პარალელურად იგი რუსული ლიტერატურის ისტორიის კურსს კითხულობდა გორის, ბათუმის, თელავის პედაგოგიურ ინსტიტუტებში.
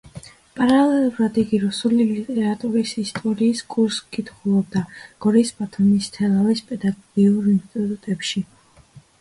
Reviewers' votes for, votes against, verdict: 1, 2, rejected